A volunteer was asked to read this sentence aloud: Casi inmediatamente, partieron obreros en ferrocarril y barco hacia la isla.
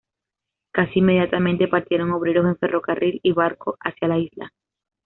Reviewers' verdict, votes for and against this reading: accepted, 2, 0